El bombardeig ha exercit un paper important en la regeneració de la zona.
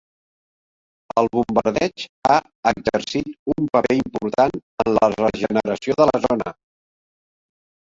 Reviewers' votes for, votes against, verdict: 2, 1, accepted